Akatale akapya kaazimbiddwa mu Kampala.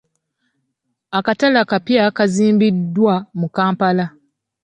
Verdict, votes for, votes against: rejected, 1, 2